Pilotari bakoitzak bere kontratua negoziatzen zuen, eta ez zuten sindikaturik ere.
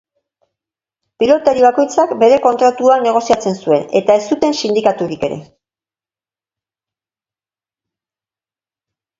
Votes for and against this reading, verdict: 2, 0, accepted